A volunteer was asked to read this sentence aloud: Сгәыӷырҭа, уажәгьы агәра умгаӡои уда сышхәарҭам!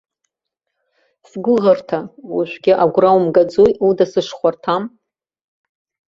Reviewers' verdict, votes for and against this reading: rejected, 1, 2